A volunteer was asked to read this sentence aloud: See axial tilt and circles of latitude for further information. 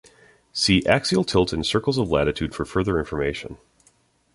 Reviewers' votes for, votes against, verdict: 2, 0, accepted